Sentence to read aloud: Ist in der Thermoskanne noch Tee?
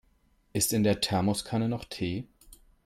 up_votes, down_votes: 3, 0